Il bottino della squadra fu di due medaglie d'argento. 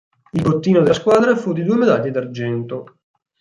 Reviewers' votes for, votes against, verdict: 0, 4, rejected